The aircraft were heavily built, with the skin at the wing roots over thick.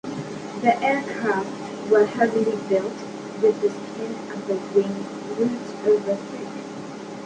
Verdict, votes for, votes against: accepted, 2, 0